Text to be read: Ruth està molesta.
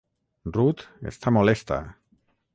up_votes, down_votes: 6, 0